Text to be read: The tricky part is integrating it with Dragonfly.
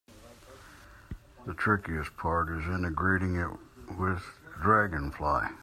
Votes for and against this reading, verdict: 0, 2, rejected